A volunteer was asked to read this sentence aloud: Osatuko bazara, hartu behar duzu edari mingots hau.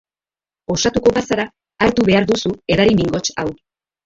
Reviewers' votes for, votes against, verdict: 0, 3, rejected